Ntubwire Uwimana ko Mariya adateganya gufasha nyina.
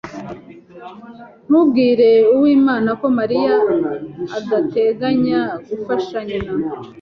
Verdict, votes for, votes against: accepted, 2, 0